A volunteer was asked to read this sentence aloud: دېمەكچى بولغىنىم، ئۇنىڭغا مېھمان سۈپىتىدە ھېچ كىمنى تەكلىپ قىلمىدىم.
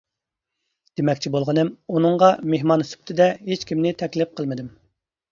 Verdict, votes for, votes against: accepted, 2, 0